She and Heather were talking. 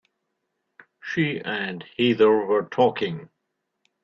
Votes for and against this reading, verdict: 1, 2, rejected